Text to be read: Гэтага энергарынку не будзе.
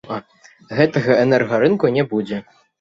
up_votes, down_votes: 1, 2